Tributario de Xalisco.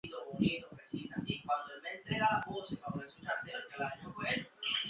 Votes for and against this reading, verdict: 0, 2, rejected